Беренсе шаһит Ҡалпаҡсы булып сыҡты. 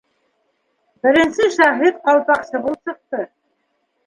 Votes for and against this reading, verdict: 1, 2, rejected